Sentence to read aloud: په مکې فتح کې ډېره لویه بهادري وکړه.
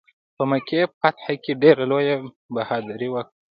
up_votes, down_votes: 1, 2